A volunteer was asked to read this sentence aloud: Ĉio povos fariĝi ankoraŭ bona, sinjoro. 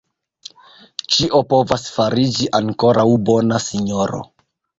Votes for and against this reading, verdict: 0, 2, rejected